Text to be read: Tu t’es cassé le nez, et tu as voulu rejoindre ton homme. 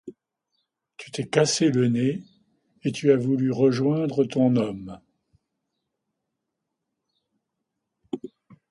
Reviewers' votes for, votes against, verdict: 2, 1, accepted